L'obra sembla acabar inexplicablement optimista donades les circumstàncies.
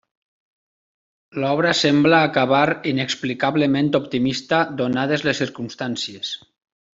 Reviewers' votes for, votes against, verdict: 3, 0, accepted